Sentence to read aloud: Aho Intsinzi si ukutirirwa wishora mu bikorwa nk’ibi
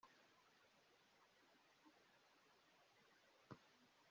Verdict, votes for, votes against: rejected, 0, 2